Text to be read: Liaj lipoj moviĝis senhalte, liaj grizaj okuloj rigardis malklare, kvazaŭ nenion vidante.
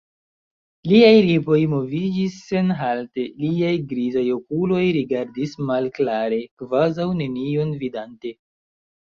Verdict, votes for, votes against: rejected, 0, 2